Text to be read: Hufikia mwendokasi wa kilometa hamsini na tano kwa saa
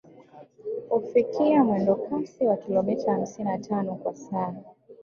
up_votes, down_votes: 2, 1